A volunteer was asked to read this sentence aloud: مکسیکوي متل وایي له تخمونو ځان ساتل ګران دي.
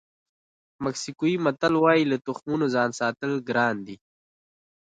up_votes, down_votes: 1, 2